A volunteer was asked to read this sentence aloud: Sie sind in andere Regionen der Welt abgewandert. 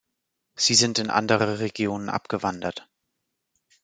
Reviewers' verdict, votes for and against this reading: rejected, 0, 2